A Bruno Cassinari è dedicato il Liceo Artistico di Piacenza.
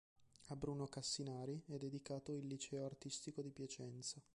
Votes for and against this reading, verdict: 1, 2, rejected